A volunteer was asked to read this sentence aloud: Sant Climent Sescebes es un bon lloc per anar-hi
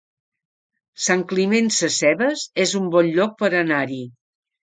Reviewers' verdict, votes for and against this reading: accepted, 3, 0